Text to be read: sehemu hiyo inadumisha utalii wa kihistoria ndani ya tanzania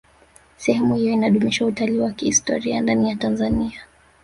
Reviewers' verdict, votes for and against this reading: rejected, 1, 2